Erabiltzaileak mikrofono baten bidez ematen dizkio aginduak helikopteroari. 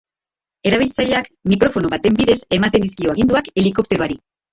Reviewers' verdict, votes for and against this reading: rejected, 1, 2